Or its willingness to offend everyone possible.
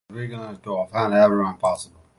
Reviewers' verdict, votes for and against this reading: rejected, 1, 2